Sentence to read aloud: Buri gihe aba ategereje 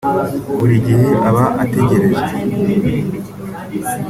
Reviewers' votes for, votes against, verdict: 2, 0, accepted